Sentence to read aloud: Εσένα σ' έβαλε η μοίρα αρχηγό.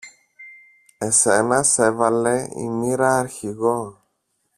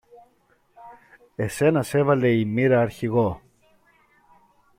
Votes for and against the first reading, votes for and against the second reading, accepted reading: 1, 2, 2, 0, second